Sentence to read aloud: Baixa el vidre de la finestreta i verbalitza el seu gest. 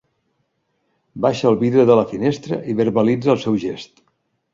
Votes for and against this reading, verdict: 0, 2, rejected